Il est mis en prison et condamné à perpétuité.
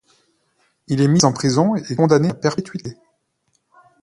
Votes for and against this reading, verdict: 2, 1, accepted